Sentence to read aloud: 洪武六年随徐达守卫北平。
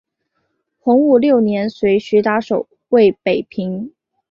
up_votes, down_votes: 2, 0